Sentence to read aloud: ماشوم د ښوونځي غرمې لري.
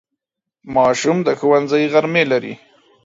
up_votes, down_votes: 4, 0